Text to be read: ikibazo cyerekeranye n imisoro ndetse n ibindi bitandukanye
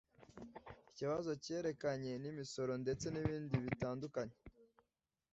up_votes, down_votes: 1, 2